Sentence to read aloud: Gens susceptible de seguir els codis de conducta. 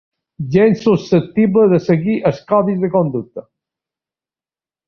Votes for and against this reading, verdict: 2, 0, accepted